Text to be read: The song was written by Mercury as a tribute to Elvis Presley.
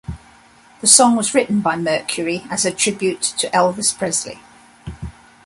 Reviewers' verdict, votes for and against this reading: accepted, 2, 0